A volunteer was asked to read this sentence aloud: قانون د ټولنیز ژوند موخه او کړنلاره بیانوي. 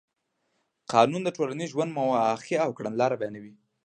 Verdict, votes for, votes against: rejected, 1, 2